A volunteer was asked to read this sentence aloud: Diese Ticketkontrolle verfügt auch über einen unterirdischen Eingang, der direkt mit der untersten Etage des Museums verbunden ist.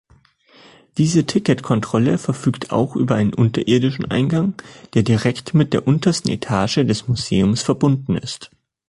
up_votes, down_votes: 2, 0